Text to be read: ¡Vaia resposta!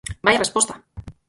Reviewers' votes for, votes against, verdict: 4, 0, accepted